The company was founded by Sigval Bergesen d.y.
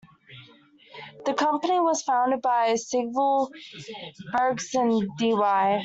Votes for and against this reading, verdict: 1, 2, rejected